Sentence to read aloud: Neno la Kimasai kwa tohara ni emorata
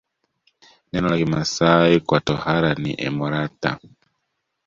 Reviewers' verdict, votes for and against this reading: accepted, 2, 0